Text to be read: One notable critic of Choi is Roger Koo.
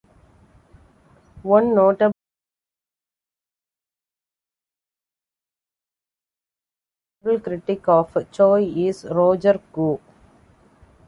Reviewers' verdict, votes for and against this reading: rejected, 1, 2